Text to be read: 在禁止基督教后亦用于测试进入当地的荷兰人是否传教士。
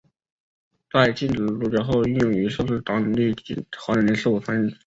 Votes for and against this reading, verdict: 3, 0, accepted